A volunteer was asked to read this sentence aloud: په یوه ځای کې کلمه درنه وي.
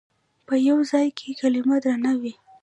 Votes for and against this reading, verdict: 1, 2, rejected